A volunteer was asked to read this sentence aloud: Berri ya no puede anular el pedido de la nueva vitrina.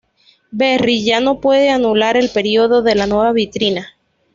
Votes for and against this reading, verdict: 2, 0, accepted